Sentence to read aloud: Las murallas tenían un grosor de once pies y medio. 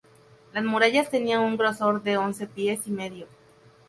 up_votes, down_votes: 0, 2